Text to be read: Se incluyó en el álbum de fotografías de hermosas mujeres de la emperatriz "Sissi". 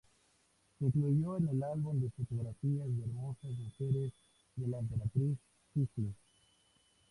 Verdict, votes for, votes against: rejected, 0, 4